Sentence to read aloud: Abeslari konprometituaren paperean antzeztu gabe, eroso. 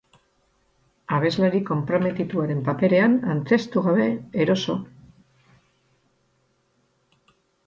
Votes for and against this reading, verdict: 8, 0, accepted